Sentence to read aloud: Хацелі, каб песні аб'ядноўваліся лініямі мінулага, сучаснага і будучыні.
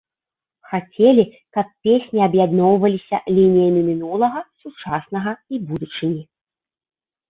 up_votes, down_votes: 2, 0